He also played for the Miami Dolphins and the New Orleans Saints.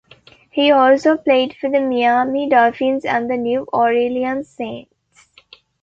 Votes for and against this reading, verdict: 1, 2, rejected